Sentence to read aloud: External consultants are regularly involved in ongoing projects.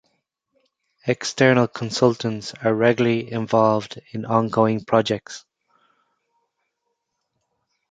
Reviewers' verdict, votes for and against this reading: accepted, 2, 0